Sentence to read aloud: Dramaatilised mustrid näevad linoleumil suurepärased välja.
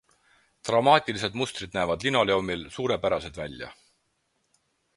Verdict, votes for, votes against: accepted, 4, 0